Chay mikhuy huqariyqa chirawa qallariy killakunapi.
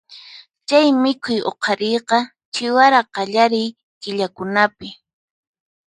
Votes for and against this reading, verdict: 2, 4, rejected